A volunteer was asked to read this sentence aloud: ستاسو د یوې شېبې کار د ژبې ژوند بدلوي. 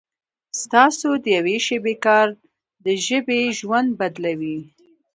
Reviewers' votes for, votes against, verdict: 2, 1, accepted